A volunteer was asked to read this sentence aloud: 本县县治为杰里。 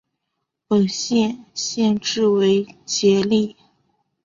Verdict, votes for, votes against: accepted, 5, 0